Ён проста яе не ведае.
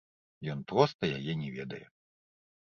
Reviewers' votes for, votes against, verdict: 0, 2, rejected